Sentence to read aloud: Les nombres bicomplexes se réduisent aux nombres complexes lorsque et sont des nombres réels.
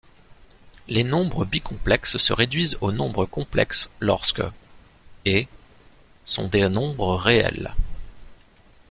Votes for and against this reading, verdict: 2, 0, accepted